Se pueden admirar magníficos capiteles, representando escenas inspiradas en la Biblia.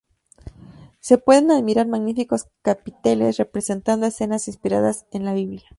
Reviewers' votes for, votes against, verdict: 2, 0, accepted